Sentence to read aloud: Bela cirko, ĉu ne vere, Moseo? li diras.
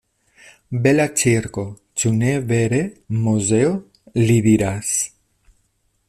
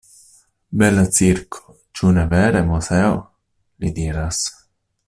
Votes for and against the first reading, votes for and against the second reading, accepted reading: 1, 2, 2, 1, second